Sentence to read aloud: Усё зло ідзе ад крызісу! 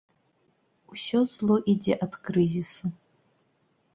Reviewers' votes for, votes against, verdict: 2, 0, accepted